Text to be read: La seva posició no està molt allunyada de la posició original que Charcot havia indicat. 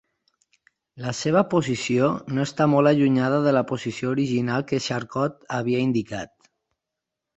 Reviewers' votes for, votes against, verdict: 8, 0, accepted